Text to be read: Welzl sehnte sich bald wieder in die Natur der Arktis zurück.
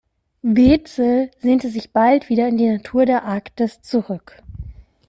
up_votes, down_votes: 0, 2